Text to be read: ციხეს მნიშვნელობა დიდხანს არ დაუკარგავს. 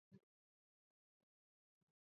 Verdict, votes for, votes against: accepted, 2, 0